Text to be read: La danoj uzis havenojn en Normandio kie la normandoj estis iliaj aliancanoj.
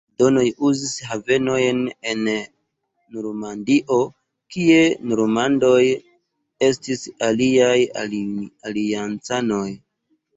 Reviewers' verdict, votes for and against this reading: rejected, 0, 2